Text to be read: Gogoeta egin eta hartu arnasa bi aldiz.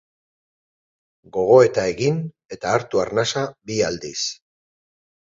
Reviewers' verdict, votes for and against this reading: rejected, 0, 2